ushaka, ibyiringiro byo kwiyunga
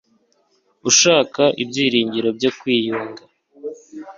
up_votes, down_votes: 2, 0